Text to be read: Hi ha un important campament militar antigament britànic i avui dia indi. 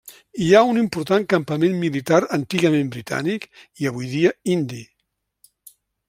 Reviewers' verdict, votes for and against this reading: accepted, 3, 0